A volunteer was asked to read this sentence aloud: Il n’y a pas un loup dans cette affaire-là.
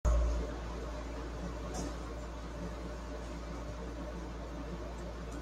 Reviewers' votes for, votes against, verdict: 0, 2, rejected